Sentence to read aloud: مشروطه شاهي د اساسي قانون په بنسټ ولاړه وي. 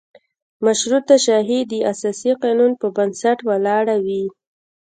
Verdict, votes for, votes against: rejected, 0, 2